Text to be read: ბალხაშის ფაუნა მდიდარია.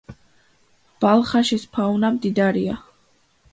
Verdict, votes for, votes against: accepted, 2, 0